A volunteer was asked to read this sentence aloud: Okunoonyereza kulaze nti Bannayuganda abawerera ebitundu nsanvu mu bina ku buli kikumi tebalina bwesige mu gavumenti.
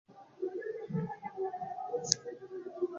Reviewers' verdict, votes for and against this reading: rejected, 0, 3